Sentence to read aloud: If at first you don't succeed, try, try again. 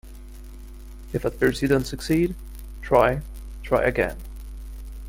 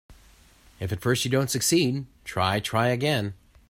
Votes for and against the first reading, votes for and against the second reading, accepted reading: 0, 2, 2, 0, second